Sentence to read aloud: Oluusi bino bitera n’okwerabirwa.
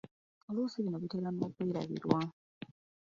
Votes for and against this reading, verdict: 2, 1, accepted